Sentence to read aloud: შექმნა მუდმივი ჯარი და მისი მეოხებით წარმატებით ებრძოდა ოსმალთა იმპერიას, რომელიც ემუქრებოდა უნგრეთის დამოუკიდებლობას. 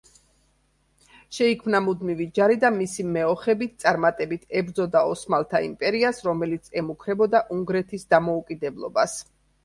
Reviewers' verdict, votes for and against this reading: rejected, 0, 3